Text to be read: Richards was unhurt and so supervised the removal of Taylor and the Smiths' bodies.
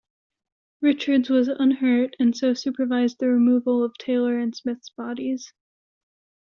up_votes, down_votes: 0, 2